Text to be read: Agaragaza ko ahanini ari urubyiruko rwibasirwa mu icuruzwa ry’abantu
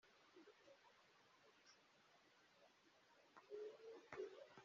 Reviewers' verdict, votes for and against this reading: rejected, 0, 2